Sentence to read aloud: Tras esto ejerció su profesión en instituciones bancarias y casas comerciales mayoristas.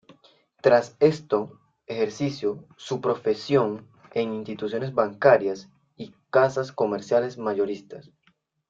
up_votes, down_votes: 1, 2